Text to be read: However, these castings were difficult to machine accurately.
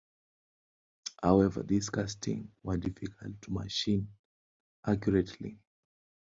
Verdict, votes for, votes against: rejected, 1, 2